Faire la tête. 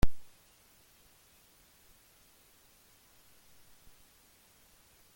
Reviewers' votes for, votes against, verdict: 0, 2, rejected